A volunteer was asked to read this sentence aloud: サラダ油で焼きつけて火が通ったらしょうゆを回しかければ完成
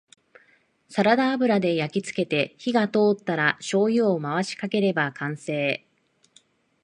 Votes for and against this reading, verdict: 2, 0, accepted